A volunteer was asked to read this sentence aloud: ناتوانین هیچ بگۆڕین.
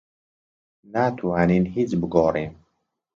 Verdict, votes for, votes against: accepted, 2, 0